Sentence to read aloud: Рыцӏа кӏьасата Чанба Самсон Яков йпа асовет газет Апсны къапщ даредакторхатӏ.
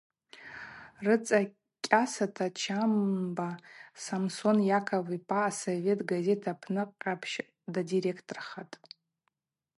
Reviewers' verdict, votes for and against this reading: accepted, 4, 2